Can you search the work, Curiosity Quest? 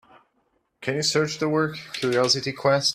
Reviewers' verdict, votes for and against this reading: accepted, 3, 0